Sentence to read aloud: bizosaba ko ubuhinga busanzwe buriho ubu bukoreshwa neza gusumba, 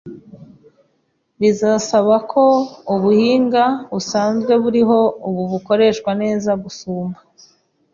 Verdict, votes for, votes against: rejected, 0, 2